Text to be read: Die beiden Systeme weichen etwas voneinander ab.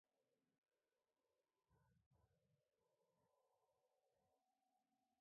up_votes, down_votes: 0, 2